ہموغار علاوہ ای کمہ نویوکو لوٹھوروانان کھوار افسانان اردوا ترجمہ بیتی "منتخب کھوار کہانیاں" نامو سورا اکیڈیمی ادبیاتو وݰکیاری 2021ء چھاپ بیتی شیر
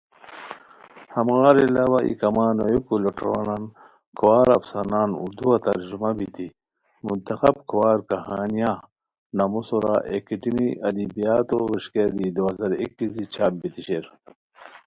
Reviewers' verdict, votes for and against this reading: rejected, 0, 2